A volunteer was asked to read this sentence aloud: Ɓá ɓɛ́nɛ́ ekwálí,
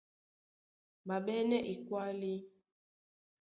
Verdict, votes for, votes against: accepted, 2, 0